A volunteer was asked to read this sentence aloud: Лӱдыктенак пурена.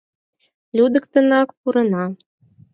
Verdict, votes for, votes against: accepted, 4, 0